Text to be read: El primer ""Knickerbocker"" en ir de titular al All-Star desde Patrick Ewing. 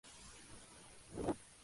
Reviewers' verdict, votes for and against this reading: rejected, 0, 2